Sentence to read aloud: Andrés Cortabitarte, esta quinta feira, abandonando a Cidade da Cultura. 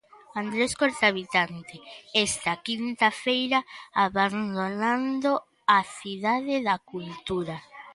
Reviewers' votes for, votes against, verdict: 0, 2, rejected